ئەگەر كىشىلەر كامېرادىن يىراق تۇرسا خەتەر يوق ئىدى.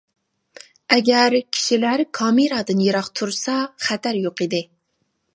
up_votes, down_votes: 2, 0